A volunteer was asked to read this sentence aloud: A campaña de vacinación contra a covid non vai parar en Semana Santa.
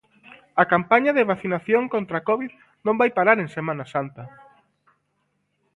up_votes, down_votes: 1, 2